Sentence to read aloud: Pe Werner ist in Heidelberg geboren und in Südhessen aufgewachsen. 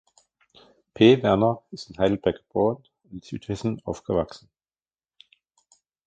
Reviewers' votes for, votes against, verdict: 0, 2, rejected